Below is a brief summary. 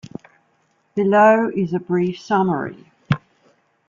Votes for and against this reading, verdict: 2, 0, accepted